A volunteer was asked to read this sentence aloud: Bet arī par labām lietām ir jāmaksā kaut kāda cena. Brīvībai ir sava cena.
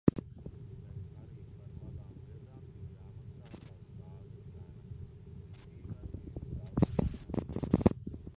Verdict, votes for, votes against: rejected, 0, 2